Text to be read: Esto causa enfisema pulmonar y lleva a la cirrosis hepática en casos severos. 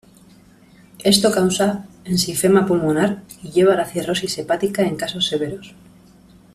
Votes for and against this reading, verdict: 0, 2, rejected